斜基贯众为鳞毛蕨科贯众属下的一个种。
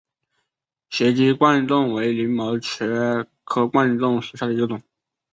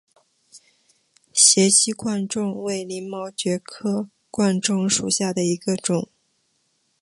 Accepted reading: second